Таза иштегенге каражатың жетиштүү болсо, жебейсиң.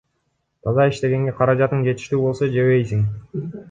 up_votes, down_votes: 2, 0